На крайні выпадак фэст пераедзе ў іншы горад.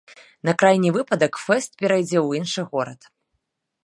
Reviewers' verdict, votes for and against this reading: rejected, 1, 2